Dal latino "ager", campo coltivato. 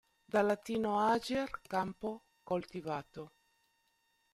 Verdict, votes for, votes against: accepted, 2, 1